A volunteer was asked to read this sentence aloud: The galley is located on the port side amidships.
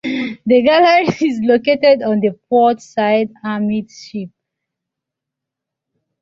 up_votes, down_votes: 2, 1